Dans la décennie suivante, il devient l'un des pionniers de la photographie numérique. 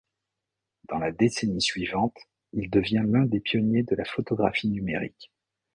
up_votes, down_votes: 2, 0